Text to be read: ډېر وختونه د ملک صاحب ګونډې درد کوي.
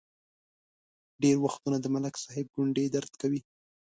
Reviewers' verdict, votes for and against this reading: accepted, 2, 0